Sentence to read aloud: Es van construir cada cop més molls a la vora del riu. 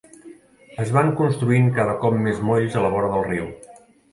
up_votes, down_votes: 0, 2